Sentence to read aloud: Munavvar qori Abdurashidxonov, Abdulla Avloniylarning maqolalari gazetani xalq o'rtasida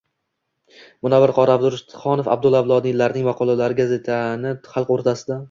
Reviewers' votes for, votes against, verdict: 2, 0, accepted